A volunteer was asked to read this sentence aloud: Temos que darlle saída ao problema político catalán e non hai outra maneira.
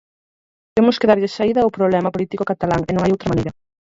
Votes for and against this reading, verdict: 2, 4, rejected